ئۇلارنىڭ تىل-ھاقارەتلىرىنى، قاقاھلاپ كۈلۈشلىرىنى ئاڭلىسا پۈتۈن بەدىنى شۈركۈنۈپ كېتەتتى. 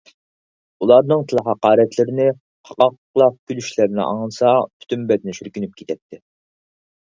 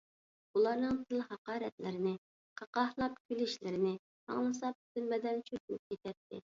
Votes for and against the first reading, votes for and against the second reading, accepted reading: 4, 0, 0, 2, first